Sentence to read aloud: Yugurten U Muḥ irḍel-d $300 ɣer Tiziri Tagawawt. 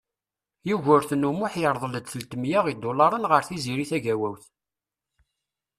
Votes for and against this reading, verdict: 0, 2, rejected